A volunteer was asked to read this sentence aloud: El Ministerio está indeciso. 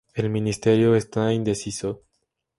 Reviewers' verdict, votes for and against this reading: accepted, 2, 0